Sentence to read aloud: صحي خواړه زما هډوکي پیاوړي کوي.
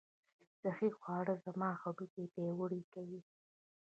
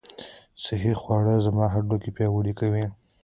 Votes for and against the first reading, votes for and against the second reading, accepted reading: 0, 2, 2, 0, second